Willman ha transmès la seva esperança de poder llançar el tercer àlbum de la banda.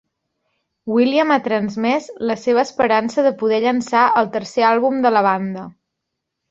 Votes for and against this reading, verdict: 0, 2, rejected